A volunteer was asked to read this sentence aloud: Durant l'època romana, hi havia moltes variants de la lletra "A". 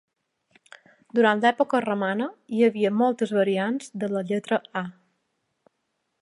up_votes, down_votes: 2, 0